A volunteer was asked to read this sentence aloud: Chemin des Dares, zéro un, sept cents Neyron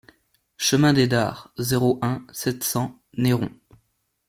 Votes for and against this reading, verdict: 2, 0, accepted